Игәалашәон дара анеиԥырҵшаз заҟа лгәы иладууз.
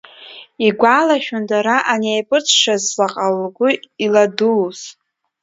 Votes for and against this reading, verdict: 2, 0, accepted